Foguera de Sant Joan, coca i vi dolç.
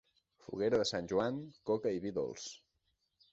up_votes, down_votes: 2, 0